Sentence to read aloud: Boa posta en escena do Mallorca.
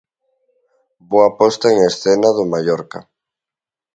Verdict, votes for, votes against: accepted, 2, 0